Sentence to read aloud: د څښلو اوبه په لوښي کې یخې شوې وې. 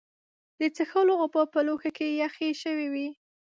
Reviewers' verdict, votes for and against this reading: accepted, 2, 0